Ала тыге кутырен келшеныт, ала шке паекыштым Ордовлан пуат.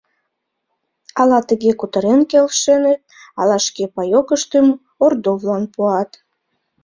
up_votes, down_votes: 2, 0